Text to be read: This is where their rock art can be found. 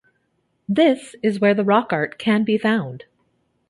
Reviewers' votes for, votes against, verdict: 0, 2, rejected